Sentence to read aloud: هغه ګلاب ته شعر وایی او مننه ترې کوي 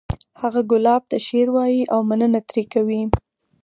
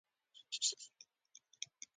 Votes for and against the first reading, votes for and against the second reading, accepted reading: 4, 0, 0, 2, first